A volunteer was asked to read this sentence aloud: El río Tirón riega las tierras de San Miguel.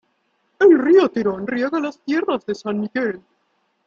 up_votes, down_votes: 1, 2